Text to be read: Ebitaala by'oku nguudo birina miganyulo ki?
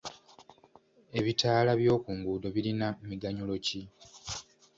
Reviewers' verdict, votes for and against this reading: accepted, 2, 0